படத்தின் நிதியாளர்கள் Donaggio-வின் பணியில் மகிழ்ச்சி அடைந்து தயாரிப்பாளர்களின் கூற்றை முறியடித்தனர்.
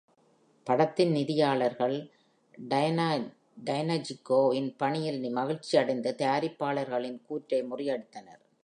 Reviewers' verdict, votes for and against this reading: rejected, 0, 2